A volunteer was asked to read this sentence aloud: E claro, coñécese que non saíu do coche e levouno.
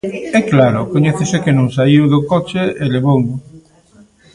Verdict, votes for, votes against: accepted, 2, 1